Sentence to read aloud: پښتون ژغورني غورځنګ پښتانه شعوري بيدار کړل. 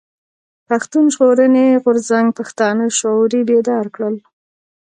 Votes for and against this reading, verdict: 2, 1, accepted